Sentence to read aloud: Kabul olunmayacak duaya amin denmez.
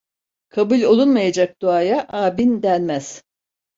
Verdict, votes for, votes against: accepted, 2, 0